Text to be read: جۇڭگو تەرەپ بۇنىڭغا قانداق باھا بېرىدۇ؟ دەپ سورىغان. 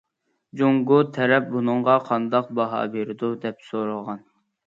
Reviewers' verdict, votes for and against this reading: accepted, 2, 0